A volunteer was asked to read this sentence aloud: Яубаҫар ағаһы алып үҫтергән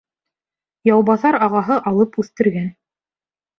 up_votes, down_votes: 2, 0